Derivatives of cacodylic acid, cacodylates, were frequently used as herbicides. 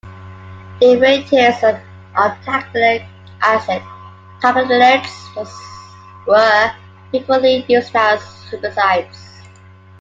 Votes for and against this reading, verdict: 0, 2, rejected